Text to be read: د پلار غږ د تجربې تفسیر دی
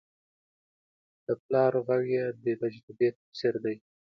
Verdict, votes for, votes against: rejected, 0, 2